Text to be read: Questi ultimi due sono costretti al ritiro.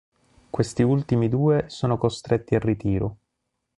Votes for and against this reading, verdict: 2, 0, accepted